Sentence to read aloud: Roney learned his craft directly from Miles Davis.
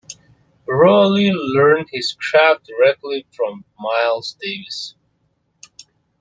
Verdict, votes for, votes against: accepted, 2, 1